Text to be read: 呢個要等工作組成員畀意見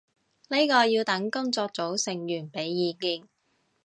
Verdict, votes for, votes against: accepted, 2, 0